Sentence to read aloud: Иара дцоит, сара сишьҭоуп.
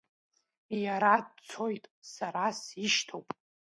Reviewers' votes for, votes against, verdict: 2, 0, accepted